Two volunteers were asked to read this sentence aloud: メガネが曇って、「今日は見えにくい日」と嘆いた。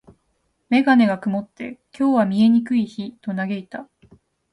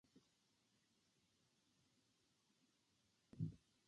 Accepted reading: first